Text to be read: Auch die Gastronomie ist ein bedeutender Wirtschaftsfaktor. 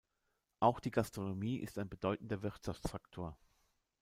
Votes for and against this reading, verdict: 0, 2, rejected